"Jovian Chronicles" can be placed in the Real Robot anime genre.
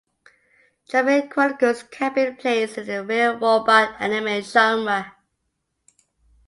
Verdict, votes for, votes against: accepted, 2, 1